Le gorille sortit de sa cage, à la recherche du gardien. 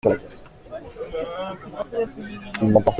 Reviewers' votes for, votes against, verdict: 0, 2, rejected